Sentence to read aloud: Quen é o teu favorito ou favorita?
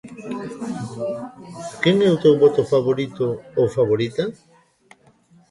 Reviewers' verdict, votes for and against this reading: rejected, 0, 2